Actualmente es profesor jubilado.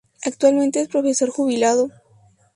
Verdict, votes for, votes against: rejected, 0, 2